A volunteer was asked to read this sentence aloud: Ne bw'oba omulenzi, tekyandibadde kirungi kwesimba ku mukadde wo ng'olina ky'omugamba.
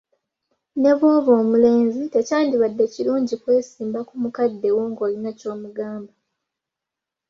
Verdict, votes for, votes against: accepted, 4, 0